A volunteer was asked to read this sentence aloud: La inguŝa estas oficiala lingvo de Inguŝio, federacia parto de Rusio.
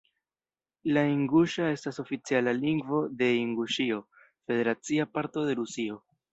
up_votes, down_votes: 0, 2